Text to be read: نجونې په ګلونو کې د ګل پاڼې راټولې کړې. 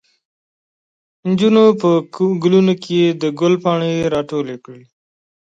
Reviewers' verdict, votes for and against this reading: rejected, 1, 2